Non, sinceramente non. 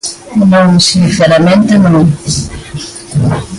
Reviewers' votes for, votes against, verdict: 1, 2, rejected